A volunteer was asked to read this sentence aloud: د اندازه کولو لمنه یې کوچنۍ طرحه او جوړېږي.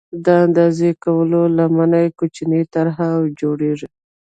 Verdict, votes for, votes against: rejected, 1, 2